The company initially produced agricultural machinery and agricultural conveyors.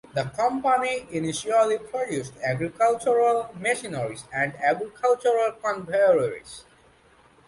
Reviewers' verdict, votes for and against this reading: accepted, 2, 1